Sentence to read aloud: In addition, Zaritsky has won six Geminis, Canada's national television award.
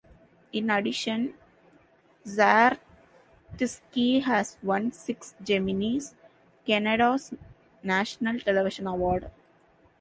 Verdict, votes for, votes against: rejected, 0, 2